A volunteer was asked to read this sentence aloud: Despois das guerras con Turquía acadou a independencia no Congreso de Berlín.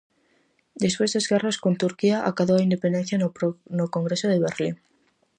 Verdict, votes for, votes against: rejected, 0, 4